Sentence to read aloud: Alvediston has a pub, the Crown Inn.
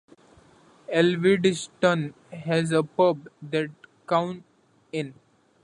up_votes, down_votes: 1, 2